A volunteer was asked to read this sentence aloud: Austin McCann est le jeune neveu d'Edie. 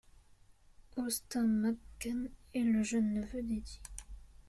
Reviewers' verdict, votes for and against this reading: accepted, 2, 0